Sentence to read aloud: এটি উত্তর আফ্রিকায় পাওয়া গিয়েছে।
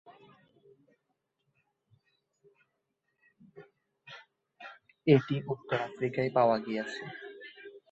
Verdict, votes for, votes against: rejected, 1, 3